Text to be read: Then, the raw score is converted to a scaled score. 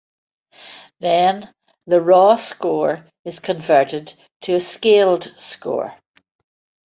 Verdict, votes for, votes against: accepted, 2, 0